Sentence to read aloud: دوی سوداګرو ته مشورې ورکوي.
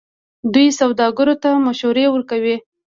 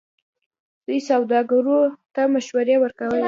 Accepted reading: first